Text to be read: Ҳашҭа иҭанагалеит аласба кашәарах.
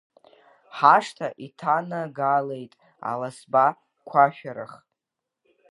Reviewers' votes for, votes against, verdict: 0, 2, rejected